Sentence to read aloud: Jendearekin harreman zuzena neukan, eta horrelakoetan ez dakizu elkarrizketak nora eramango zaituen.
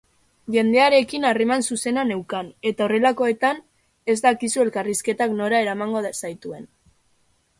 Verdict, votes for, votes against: rejected, 0, 2